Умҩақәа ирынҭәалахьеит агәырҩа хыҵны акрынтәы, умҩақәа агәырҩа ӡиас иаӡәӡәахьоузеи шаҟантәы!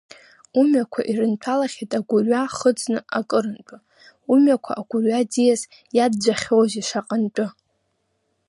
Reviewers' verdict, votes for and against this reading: rejected, 0, 2